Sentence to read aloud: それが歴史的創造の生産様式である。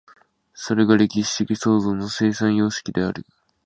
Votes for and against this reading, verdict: 3, 0, accepted